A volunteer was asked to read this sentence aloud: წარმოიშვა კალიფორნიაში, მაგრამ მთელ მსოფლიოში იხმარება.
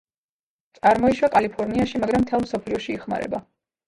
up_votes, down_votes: 2, 0